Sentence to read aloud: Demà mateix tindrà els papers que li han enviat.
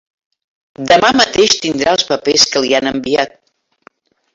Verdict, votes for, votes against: rejected, 1, 2